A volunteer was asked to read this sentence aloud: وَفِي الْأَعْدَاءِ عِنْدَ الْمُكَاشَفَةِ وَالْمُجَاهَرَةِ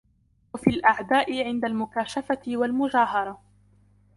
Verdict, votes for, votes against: accepted, 2, 0